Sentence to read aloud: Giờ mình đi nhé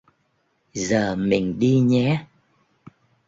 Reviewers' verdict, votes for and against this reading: accepted, 2, 0